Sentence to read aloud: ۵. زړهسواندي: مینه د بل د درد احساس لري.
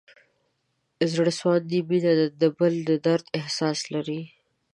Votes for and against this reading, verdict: 0, 2, rejected